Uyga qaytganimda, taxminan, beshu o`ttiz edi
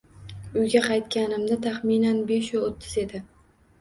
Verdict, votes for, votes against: accepted, 2, 0